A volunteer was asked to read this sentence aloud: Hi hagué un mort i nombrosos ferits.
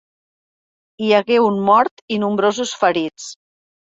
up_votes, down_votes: 3, 0